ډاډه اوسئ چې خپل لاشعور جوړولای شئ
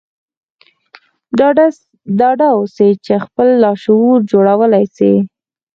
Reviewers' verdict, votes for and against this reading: accepted, 4, 0